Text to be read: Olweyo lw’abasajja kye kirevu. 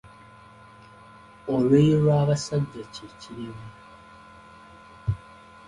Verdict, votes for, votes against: accepted, 2, 0